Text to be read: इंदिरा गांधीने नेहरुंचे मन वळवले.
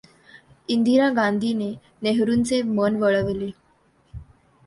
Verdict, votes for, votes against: accepted, 2, 0